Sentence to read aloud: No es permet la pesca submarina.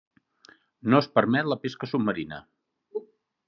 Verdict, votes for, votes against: accepted, 3, 0